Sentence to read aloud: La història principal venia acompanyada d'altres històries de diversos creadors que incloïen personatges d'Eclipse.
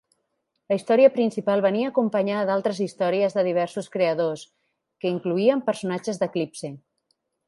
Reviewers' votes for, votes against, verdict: 3, 0, accepted